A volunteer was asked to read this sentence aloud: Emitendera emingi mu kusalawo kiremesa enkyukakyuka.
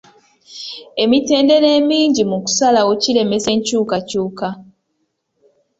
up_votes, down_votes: 2, 0